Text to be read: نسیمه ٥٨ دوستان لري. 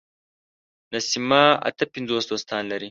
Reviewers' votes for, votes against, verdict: 0, 2, rejected